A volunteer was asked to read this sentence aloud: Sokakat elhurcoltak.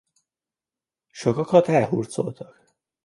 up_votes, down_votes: 2, 0